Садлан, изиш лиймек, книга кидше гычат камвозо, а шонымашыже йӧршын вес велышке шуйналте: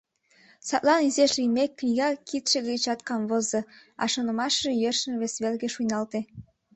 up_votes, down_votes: 0, 2